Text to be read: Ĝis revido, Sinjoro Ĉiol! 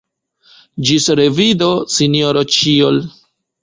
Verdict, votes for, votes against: rejected, 1, 2